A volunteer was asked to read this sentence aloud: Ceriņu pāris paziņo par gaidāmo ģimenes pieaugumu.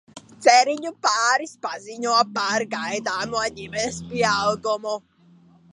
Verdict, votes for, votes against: rejected, 1, 2